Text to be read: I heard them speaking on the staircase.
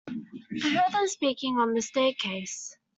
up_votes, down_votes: 2, 0